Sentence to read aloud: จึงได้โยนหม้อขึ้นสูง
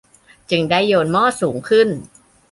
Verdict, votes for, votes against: rejected, 0, 2